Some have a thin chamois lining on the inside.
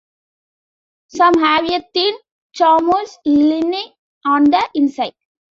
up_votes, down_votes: 0, 2